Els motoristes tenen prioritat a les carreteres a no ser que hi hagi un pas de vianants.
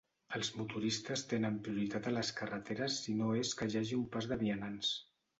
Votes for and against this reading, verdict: 1, 2, rejected